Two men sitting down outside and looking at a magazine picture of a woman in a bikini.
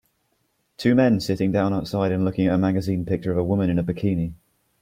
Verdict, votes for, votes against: accepted, 2, 0